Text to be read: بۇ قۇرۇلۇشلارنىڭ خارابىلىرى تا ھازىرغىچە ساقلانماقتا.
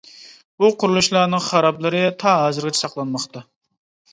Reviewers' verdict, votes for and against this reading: rejected, 0, 2